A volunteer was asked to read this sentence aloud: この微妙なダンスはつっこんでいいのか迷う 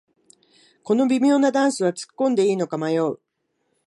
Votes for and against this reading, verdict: 2, 0, accepted